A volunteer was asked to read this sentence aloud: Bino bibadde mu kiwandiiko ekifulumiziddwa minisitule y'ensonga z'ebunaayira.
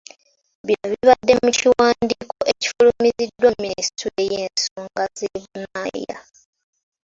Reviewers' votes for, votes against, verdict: 2, 0, accepted